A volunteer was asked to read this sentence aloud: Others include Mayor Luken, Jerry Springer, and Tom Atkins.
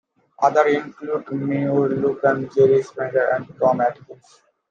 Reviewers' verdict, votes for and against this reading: rejected, 0, 2